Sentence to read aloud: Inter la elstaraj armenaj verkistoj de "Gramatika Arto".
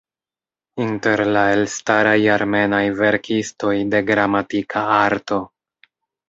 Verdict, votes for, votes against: accepted, 2, 0